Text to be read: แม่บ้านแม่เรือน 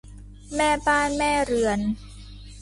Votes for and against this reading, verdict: 2, 0, accepted